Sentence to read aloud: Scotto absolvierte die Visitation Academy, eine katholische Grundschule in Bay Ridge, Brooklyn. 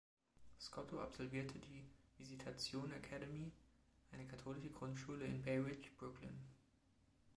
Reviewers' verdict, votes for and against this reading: rejected, 1, 2